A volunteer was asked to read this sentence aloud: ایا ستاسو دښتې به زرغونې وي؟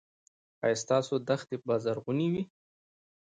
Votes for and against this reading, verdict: 2, 1, accepted